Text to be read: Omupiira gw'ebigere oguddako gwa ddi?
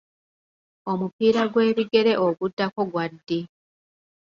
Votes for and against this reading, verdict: 4, 1, accepted